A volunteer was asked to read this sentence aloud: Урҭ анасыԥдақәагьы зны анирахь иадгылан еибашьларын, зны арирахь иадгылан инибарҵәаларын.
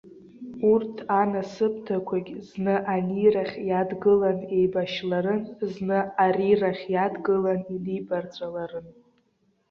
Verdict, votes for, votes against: accepted, 2, 0